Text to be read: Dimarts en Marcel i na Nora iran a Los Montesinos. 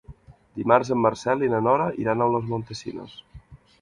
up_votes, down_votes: 2, 0